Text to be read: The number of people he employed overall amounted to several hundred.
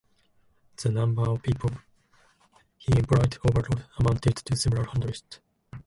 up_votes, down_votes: 0, 2